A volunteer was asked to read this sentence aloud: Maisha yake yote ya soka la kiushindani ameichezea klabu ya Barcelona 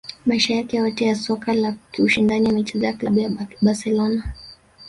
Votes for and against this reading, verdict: 2, 0, accepted